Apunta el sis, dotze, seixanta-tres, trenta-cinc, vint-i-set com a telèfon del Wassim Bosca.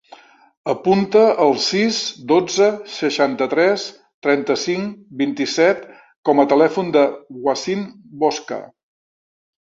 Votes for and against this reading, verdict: 0, 2, rejected